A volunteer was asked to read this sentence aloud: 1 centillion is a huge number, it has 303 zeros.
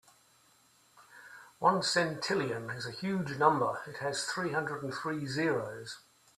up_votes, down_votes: 0, 2